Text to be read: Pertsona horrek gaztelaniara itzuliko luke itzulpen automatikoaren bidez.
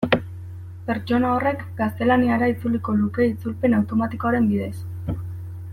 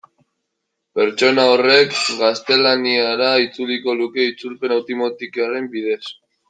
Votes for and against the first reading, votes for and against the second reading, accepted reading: 2, 0, 0, 2, first